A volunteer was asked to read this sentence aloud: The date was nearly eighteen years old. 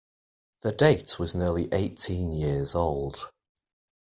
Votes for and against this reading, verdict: 2, 0, accepted